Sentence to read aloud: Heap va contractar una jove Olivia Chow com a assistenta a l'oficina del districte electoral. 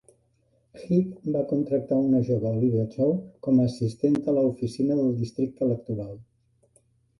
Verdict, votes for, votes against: rejected, 1, 2